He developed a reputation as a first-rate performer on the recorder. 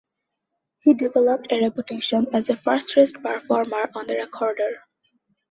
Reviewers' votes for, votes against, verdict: 0, 2, rejected